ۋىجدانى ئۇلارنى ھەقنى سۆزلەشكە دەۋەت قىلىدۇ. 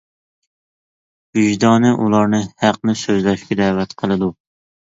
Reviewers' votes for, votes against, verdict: 2, 0, accepted